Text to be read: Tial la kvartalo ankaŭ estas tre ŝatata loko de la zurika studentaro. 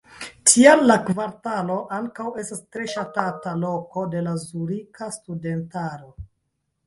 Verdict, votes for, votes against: rejected, 1, 2